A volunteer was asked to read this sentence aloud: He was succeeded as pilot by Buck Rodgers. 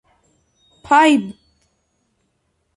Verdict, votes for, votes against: rejected, 0, 2